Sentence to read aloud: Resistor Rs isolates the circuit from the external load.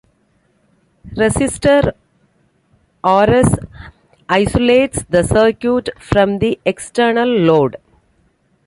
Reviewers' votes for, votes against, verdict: 2, 1, accepted